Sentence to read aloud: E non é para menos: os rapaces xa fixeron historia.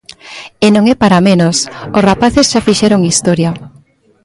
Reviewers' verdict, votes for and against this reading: rejected, 0, 2